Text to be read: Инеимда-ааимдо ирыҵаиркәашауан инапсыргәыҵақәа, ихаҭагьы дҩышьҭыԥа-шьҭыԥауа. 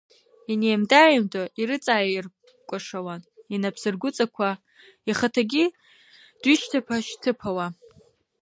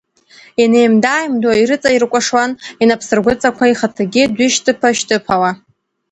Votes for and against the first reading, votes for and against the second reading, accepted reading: 1, 2, 2, 1, second